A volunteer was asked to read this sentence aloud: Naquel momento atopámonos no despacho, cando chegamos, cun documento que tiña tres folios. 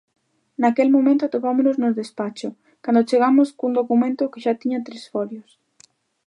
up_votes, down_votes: 1, 2